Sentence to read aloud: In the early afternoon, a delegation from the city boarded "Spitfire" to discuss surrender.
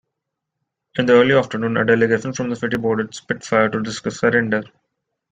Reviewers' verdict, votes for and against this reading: accepted, 2, 0